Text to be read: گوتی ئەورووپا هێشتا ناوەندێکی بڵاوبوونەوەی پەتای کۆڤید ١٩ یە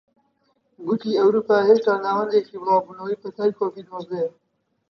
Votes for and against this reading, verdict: 0, 2, rejected